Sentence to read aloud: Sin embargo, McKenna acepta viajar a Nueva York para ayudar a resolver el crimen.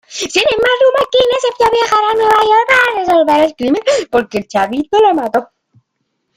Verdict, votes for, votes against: rejected, 1, 2